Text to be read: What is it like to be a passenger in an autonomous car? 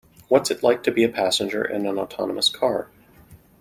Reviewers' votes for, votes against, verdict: 2, 0, accepted